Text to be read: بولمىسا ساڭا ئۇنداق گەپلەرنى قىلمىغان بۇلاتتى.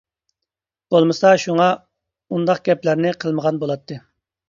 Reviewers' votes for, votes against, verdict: 0, 2, rejected